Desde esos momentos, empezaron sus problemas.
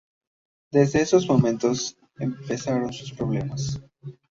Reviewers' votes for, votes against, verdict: 2, 0, accepted